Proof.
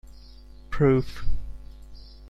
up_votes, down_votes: 2, 0